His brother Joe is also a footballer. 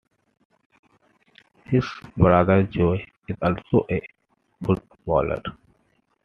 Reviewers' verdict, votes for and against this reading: rejected, 0, 2